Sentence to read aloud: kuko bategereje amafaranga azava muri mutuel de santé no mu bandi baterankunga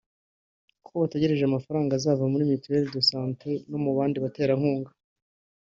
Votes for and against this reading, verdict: 2, 0, accepted